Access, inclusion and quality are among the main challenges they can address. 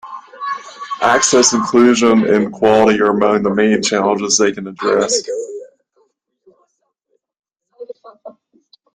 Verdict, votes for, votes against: accepted, 2, 0